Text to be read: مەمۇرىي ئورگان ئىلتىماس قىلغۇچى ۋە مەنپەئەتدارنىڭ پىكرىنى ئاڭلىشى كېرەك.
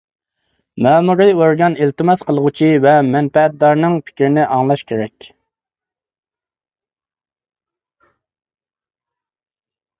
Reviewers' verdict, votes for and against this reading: rejected, 1, 2